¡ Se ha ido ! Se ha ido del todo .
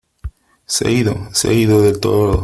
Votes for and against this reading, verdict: 3, 1, accepted